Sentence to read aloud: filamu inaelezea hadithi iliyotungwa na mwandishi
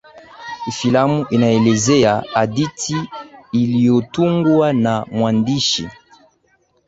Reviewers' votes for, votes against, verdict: 5, 3, accepted